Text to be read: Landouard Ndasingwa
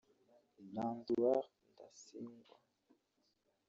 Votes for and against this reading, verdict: 0, 2, rejected